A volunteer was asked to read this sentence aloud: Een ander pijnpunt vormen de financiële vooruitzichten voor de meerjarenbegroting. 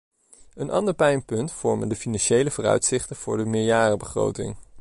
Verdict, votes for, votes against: accepted, 2, 0